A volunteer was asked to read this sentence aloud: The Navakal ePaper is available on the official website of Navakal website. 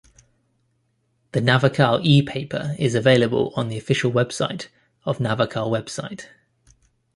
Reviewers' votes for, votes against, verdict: 2, 0, accepted